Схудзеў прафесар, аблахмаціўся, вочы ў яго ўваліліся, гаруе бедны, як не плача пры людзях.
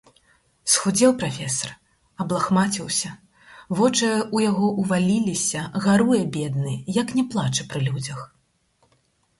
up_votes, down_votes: 0, 4